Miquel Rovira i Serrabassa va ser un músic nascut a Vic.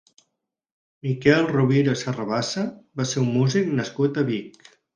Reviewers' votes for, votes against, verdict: 6, 0, accepted